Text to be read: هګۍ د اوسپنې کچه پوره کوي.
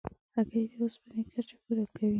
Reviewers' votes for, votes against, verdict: 2, 0, accepted